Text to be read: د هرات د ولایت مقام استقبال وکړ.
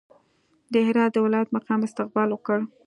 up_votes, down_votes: 2, 0